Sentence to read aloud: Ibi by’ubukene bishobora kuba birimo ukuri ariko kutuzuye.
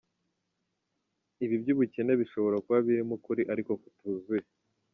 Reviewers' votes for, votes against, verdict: 2, 0, accepted